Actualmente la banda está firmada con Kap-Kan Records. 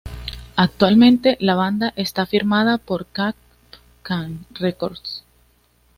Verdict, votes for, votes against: accepted, 2, 0